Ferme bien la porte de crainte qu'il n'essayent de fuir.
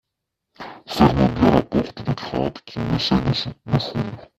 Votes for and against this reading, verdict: 0, 2, rejected